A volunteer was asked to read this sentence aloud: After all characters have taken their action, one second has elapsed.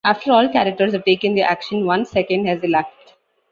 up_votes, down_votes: 2, 0